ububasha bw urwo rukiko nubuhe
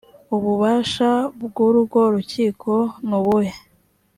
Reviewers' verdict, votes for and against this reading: accepted, 4, 0